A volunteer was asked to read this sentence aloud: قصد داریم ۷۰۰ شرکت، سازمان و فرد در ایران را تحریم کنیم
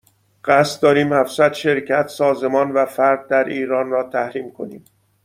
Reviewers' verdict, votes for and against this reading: rejected, 0, 2